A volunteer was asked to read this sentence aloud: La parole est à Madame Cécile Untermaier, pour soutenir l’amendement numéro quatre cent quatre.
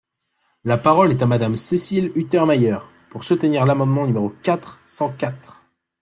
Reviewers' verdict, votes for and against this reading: accepted, 2, 1